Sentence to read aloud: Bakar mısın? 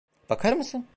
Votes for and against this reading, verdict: 1, 2, rejected